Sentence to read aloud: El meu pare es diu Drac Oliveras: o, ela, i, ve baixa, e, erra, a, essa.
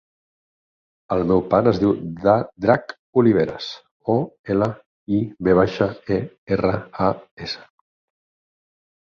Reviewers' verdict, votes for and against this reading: rejected, 0, 4